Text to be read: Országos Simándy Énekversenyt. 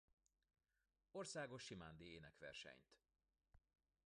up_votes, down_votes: 0, 2